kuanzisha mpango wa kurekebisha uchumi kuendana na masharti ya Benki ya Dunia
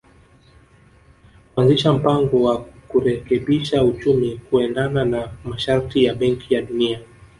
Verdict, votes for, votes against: rejected, 1, 2